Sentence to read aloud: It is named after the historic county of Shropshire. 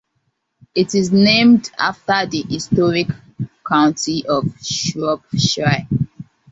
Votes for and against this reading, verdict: 2, 3, rejected